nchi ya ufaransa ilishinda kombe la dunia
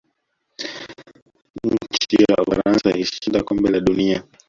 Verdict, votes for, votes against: rejected, 1, 2